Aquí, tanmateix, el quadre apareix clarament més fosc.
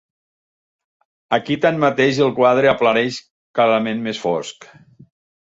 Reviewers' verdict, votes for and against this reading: rejected, 1, 2